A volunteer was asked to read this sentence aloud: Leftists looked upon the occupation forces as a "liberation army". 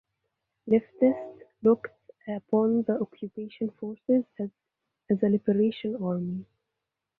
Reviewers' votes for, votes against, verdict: 0, 2, rejected